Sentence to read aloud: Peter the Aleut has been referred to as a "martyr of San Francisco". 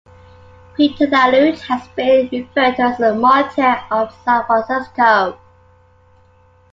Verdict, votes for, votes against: accepted, 2, 0